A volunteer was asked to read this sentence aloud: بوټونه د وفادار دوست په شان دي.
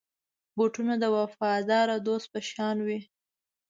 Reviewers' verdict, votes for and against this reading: rejected, 0, 2